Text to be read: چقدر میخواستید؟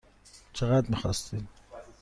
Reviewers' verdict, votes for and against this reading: accepted, 2, 0